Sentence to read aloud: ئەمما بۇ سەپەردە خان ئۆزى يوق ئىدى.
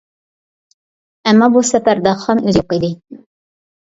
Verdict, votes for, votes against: rejected, 1, 2